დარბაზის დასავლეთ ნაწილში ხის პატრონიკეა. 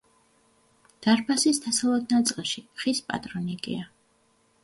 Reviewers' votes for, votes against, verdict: 2, 0, accepted